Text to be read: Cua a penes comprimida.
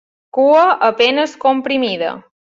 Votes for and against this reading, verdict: 4, 0, accepted